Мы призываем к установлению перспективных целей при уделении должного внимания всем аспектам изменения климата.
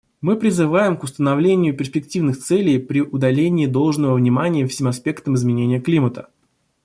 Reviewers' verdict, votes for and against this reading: rejected, 0, 2